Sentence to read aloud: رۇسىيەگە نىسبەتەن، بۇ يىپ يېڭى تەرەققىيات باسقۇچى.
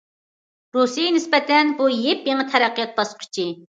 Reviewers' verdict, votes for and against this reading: rejected, 1, 2